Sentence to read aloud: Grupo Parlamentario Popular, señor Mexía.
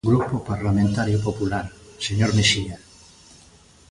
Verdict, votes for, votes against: accepted, 2, 0